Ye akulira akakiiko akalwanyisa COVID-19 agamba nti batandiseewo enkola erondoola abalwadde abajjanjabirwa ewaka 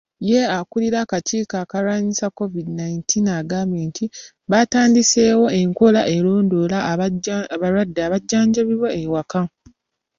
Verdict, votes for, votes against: rejected, 0, 2